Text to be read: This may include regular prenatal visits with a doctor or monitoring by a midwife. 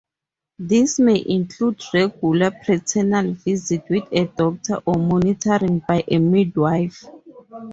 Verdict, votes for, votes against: rejected, 0, 2